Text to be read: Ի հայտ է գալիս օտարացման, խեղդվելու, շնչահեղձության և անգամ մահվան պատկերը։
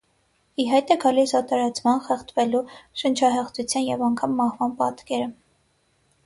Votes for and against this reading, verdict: 6, 0, accepted